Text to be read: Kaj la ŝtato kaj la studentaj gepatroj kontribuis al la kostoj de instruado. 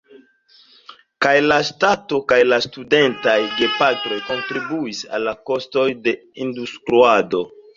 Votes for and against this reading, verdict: 1, 2, rejected